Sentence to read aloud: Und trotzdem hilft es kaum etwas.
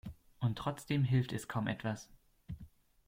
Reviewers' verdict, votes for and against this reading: accepted, 2, 0